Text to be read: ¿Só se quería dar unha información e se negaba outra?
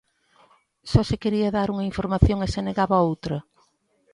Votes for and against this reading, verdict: 2, 0, accepted